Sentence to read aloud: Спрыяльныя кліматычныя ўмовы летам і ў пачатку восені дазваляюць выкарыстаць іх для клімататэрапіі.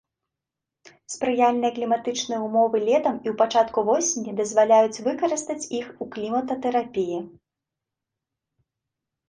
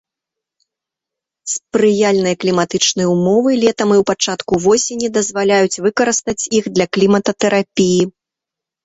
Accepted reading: second